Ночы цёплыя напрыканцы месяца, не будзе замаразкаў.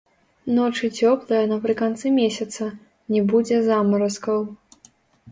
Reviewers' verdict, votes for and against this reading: rejected, 0, 2